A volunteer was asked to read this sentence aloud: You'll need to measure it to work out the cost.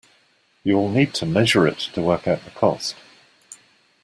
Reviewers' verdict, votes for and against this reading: accepted, 2, 0